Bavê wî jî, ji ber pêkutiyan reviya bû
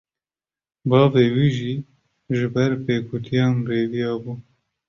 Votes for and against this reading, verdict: 2, 0, accepted